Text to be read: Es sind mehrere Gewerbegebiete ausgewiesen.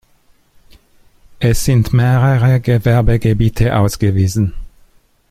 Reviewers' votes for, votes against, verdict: 1, 2, rejected